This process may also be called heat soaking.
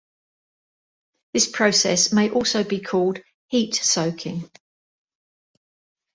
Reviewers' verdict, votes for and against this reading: accepted, 2, 0